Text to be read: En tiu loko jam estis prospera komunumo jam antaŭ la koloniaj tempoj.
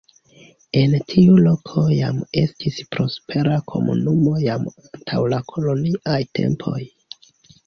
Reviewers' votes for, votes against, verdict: 2, 0, accepted